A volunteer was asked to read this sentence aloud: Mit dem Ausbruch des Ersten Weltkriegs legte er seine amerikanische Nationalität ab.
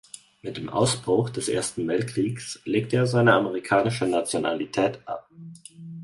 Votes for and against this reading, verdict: 4, 0, accepted